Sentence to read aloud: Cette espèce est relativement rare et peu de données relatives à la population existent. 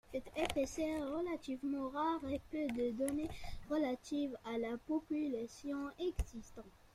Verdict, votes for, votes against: rejected, 1, 2